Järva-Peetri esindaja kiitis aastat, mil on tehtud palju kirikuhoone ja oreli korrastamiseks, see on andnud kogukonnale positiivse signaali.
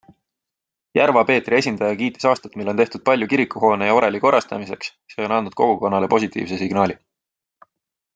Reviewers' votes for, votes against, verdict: 2, 0, accepted